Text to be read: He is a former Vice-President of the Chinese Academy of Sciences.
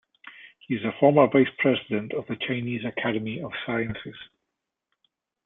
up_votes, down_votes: 2, 0